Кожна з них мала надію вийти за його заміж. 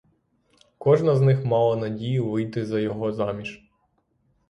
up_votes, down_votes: 6, 0